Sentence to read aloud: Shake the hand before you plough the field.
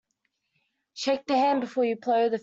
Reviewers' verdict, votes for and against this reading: rejected, 0, 2